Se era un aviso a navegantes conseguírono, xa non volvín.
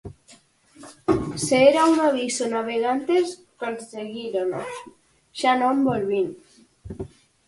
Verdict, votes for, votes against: accepted, 4, 2